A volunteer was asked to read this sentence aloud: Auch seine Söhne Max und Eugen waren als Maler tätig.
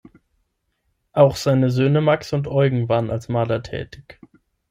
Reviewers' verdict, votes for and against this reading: accepted, 6, 0